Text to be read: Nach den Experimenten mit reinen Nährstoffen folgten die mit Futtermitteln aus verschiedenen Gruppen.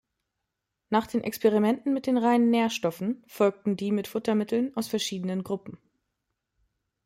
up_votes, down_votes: 1, 2